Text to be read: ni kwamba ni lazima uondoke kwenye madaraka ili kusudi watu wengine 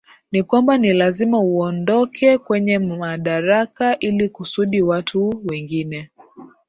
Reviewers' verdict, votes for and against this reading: rejected, 2, 2